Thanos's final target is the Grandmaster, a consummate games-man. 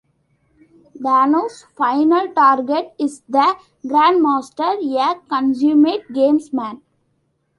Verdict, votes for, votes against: rejected, 1, 2